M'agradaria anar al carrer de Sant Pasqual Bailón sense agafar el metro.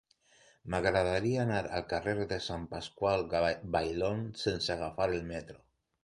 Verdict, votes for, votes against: rejected, 1, 2